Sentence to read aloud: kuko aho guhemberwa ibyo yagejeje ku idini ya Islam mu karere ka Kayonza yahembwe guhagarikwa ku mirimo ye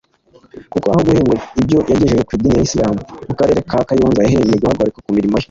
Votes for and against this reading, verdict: 1, 2, rejected